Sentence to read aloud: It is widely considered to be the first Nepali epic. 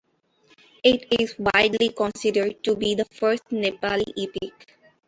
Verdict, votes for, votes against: rejected, 1, 2